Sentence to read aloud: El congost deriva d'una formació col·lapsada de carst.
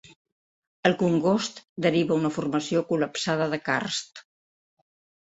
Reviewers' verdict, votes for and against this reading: rejected, 1, 2